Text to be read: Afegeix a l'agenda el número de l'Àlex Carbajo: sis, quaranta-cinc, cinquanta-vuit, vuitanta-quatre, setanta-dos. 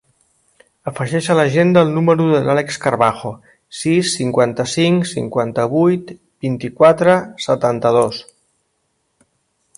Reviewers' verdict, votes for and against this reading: rejected, 0, 2